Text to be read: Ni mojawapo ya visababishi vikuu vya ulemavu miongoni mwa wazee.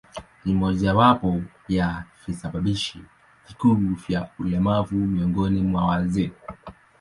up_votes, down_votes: 2, 0